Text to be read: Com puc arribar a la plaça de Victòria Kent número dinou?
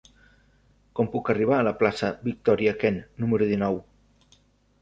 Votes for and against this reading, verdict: 0, 2, rejected